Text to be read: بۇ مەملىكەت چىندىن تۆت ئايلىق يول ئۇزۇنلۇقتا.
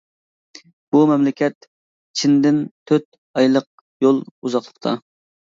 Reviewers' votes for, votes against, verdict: 2, 1, accepted